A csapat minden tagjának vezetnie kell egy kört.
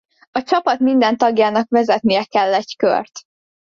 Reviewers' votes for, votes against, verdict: 2, 0, accepted